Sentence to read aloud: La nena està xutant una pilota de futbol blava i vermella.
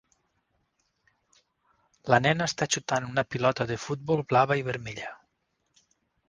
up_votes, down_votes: 6, 0